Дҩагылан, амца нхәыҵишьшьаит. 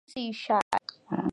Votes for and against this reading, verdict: 0, 2, rejected